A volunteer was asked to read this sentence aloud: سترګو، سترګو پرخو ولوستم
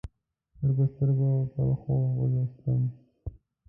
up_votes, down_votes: 2, 0